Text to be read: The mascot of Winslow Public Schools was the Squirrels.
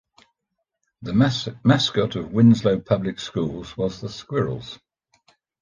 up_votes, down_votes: 1, 2